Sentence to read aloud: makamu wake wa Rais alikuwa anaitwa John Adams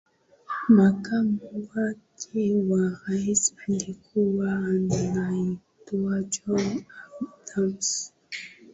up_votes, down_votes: 2, 1